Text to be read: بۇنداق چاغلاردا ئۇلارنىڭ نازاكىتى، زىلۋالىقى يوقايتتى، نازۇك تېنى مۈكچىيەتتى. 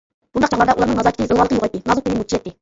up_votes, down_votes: 0, 2